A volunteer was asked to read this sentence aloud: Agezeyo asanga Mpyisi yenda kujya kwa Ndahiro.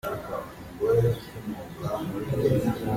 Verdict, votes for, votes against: rejected, 0, 2